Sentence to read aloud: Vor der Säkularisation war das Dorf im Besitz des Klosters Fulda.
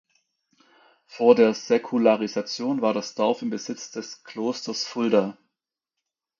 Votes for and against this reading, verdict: 2, 0, accepted